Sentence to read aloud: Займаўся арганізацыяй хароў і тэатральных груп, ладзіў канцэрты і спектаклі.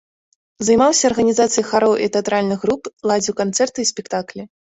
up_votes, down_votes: 2, 0